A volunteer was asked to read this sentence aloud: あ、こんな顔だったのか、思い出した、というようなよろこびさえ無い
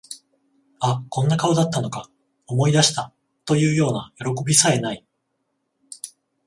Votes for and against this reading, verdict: 14, 0, accepted